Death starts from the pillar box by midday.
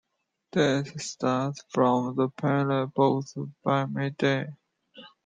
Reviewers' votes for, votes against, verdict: 1, 2, rejected